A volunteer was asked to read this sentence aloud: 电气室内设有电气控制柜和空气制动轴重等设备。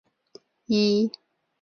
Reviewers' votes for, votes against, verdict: 0, 3, rejected